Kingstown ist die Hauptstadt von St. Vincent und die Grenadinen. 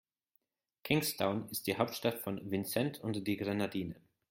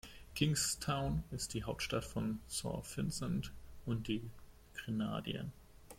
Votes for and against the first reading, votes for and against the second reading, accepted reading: 2, 0, 0, 2, first